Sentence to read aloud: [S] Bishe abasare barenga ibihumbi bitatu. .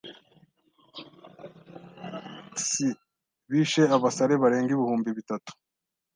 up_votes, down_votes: 2, 0